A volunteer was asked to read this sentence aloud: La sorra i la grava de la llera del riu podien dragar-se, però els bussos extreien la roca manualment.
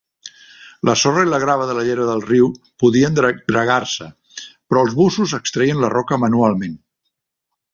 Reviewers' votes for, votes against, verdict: 0, 2, rejected